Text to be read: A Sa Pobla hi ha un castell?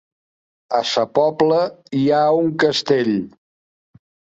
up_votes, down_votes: 0, 2